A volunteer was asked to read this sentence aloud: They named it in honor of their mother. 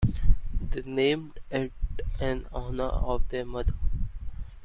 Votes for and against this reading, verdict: 1, 2, rejected